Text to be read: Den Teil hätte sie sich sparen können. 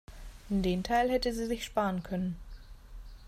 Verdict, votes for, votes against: accepted, 2, 0